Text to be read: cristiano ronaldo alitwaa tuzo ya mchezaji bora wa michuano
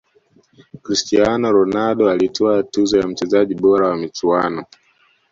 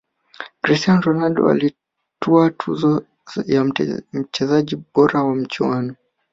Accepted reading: first